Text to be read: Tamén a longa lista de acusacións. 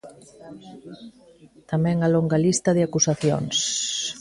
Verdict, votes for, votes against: rejected, 1, 2